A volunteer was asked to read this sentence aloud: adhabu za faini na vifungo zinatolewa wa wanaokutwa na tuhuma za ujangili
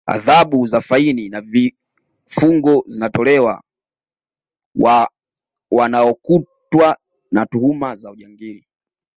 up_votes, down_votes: 2, 0